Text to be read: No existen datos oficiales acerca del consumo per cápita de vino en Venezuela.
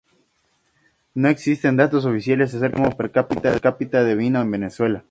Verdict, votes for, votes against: accepted, 2, 0